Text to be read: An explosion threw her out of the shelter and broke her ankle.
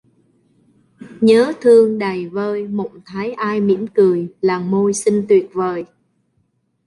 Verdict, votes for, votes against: rejected, 0, 2